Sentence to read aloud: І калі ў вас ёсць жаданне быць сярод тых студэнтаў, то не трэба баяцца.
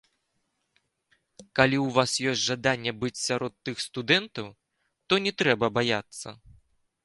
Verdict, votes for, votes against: rejected, 1, 2